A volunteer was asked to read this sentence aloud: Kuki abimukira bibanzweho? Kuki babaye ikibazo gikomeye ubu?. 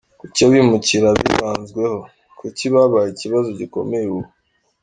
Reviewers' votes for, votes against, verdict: 2, 0, accepted